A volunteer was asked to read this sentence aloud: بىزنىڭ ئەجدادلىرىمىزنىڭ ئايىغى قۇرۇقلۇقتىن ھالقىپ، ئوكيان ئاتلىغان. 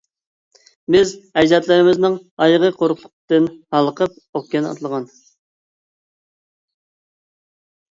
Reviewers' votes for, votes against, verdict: 0, 2, rejected